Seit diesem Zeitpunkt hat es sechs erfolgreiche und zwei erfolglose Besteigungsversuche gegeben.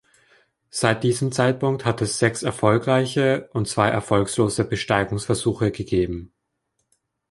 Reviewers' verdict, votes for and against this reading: rejected, 3, 3